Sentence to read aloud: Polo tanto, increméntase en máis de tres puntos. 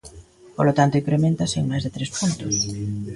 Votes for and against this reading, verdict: 0, 2, rejected